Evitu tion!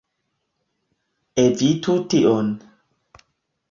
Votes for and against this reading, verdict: 2, 0, accepted